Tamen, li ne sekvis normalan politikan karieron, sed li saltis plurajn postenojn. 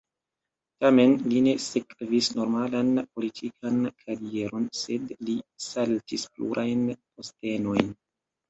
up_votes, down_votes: 1, 2